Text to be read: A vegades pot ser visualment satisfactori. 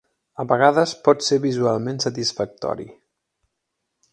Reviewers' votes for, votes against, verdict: 3, 0, accepted